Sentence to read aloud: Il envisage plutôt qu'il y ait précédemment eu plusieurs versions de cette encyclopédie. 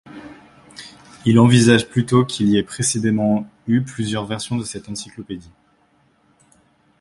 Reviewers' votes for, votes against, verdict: 0, 2, rejected